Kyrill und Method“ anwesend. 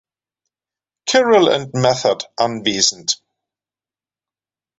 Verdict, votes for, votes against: rejected, 0, 2